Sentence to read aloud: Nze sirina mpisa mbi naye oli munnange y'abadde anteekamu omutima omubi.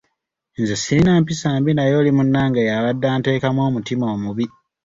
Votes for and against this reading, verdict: 2, 0, accepted